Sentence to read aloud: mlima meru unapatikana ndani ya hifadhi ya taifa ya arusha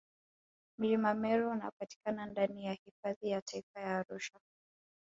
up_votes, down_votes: 3, 1